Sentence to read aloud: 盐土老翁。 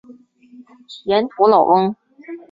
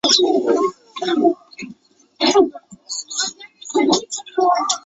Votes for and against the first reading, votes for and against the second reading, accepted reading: 6, 0, 0, 3, first